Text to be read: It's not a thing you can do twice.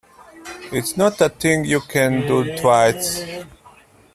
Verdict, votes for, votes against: accepted, 2, 1